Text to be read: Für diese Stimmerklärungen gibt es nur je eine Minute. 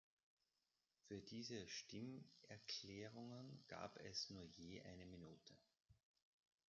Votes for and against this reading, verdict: 0, 2, rejected